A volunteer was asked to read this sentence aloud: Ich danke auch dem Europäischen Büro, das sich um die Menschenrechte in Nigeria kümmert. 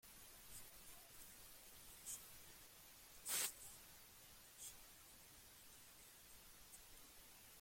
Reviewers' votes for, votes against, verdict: 0, 2, rejected